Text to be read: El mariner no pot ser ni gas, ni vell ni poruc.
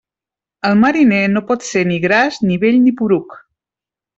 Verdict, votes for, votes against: rejected, 1, 2